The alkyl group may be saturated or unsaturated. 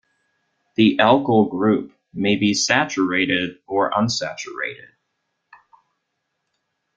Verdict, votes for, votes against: accepted, 2, 0